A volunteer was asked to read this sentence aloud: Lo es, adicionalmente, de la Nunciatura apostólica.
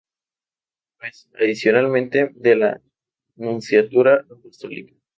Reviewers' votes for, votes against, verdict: 0, 2, rejected